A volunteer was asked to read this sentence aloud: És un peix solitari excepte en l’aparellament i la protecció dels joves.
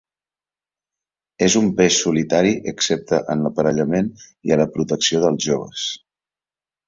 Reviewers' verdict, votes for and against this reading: accepted, 2, 1